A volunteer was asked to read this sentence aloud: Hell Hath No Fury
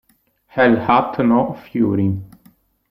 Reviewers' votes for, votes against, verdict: 1, 2, rejected